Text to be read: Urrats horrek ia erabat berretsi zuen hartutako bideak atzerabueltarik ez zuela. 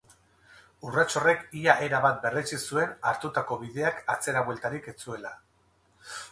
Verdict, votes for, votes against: accepted, 6, 0